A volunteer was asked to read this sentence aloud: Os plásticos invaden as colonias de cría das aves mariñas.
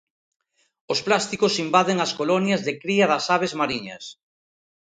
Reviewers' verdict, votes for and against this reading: accepted, 2, 0